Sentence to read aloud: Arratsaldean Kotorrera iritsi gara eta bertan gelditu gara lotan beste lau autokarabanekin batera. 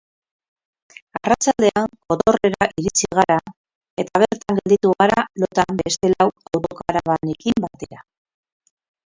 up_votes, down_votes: 2, 10